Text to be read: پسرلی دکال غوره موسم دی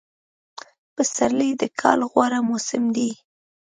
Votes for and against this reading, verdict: 2, 0, accepted